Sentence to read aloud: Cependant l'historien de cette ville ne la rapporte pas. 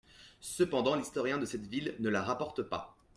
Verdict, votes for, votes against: accepted, 2, 0